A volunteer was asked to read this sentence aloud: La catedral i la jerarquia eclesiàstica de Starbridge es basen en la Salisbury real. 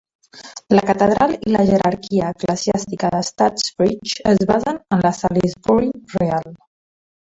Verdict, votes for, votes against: rejected, 2, 3